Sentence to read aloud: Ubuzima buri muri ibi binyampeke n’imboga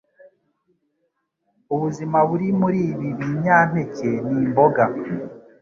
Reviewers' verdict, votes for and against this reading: accepted, 2, 0